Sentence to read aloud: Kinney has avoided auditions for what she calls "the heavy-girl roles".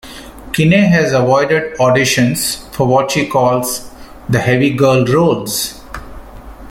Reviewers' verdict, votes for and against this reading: rejected, 0, 2